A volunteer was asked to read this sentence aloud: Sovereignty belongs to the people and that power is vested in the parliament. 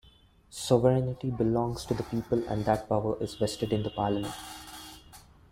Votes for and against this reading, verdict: 0, 2, rejected